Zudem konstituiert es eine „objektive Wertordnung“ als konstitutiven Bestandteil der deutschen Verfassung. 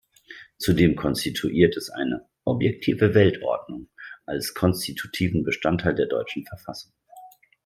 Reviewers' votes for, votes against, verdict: 1, 2, rejected